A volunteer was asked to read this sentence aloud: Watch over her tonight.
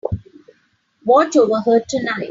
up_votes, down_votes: 2, 1